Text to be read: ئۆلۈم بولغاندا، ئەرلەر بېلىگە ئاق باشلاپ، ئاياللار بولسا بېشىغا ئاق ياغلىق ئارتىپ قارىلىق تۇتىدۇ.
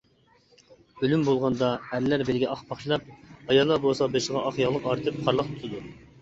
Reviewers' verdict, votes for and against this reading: rejected, 0, 2